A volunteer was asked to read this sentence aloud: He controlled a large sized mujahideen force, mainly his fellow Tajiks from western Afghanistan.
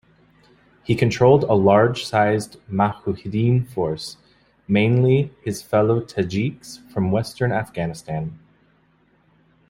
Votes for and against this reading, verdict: 1, 2, rejected